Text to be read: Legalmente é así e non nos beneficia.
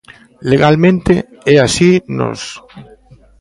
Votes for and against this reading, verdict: 0, 2, rejected